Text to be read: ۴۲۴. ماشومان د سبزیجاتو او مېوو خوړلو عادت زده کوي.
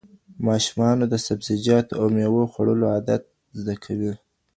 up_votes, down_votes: 0, 2